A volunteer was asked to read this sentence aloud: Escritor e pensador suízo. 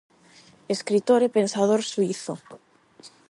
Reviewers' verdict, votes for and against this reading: accepted, 8, 0